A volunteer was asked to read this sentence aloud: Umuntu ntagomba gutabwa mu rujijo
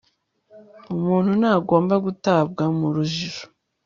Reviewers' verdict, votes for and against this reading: accepted, 2, 0